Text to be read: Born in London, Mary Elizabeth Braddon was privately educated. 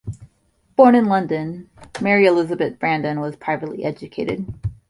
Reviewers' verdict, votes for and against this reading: rejected, 0, 2